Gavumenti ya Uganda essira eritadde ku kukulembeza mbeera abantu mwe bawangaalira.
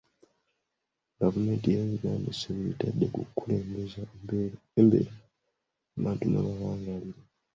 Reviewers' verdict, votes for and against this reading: rejected, 0, 2